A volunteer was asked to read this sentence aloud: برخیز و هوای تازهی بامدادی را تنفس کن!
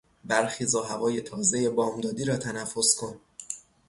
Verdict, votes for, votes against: accepted, 3, 0